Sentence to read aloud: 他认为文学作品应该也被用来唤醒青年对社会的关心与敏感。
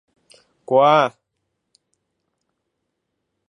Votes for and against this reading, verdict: 0, 2, rejected